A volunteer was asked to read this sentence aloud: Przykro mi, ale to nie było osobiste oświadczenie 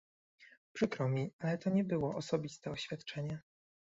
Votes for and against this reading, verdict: 1, 2, rejected